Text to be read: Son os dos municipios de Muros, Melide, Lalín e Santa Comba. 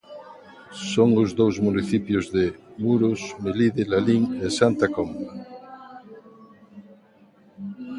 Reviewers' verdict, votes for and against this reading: rejected, 1, 2